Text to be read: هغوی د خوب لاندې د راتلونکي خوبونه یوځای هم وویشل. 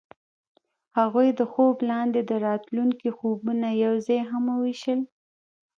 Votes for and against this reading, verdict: 0, 2, rejected